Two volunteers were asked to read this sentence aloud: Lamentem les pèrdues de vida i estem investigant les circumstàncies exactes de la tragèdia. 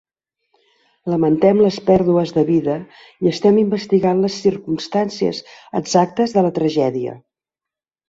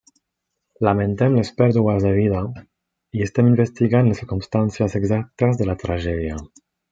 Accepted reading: first